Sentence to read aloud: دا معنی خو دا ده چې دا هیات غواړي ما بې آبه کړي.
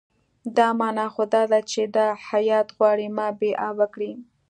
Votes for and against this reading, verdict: 2, 0, accepted